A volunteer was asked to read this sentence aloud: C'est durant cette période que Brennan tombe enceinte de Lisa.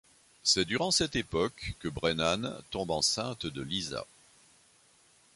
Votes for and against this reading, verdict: 1, 2, rejected